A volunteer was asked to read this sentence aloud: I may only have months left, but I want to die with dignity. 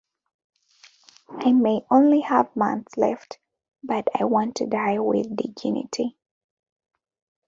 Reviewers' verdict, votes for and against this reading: rejected, 0, 2